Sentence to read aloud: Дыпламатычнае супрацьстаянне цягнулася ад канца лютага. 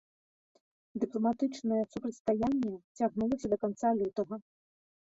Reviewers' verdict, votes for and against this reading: rejected, 0, 2